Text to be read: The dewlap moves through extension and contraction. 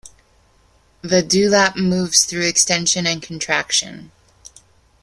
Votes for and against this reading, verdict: 2, 0, accepted